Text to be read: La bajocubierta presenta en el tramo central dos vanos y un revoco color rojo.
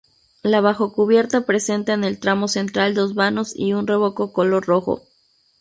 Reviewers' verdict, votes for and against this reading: rejected, 2, 2